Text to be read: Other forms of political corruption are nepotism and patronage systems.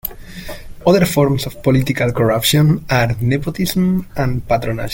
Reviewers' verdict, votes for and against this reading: rejected, 0, 2